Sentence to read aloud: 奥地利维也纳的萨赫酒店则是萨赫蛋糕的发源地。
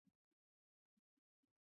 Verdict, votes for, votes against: rejected, 0, 2